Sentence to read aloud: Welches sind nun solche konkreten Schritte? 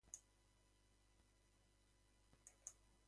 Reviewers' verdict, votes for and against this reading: rejected, 0, 2